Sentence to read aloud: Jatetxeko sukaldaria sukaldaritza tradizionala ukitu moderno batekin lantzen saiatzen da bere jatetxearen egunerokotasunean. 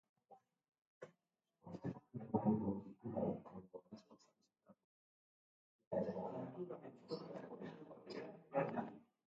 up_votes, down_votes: 1, 2